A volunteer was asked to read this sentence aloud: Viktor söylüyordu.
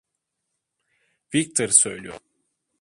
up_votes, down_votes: 1, 2